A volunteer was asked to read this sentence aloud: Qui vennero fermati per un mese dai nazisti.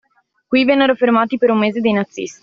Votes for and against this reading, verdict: 2, 0, accepted